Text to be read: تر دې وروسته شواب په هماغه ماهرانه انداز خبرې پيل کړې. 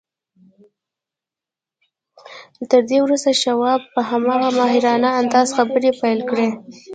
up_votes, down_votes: 0, 2